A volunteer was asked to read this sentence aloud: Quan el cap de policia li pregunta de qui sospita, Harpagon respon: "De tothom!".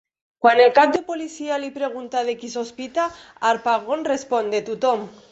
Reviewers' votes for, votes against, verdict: 2, 1, accepted